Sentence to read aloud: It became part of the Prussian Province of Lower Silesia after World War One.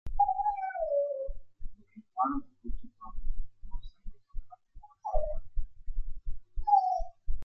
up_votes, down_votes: 0, 2